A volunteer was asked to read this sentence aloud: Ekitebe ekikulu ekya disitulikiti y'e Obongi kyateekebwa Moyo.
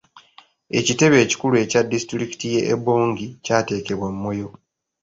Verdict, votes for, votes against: accepted, 2, 0